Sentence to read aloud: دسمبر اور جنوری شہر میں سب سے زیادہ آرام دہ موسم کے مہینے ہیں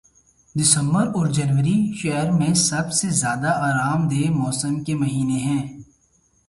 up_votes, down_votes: 2, 0